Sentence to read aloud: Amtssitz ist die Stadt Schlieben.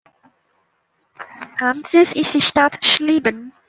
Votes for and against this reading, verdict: 2, 1, accepted